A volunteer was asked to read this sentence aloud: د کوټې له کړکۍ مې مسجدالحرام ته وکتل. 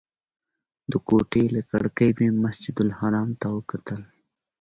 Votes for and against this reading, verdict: 2, 0, accepted